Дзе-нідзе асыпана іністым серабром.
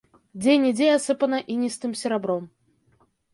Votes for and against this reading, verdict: 3, 0, accepted